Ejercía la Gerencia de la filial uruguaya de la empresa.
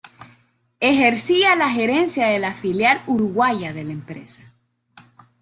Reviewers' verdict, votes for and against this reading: accepted, 2, 0